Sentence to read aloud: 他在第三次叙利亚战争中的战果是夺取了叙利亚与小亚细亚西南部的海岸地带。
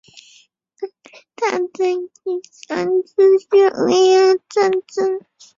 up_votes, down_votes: 0, 5